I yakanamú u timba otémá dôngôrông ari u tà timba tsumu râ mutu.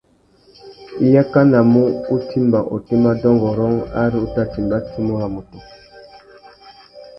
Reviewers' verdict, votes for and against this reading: rejected, 0, 2